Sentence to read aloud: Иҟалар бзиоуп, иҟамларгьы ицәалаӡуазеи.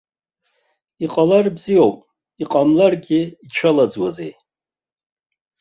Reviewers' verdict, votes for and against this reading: accepted, 2, 0